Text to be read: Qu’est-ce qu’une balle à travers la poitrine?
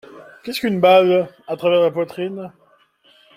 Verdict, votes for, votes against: accepted, 2, 0